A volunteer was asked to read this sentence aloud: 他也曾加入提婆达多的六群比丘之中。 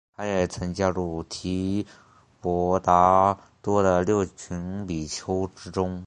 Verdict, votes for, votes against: rejected, 0, 2